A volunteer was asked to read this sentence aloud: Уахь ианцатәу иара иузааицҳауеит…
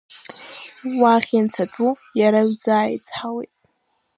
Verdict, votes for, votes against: rejected, 1, 2